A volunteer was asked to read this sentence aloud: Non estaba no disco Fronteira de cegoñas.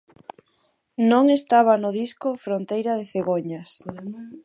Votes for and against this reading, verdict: 2, 4, rejected